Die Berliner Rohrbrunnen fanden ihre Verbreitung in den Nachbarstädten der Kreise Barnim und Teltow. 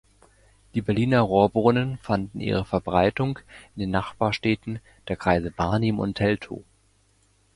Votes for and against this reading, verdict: 2, 0, accepted